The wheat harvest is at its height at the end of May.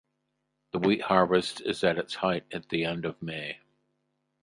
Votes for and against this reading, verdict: 4, 0, accepted